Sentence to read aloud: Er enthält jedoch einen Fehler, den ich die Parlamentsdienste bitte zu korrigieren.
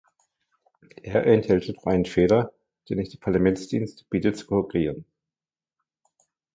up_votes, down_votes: 1, 2